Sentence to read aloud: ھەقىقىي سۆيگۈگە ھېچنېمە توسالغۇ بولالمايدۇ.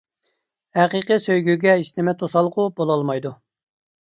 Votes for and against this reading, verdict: 2, 0, accepted